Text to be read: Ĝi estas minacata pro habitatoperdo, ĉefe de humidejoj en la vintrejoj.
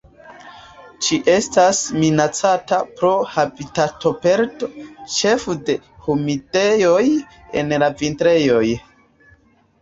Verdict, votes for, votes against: accepted, 2, 0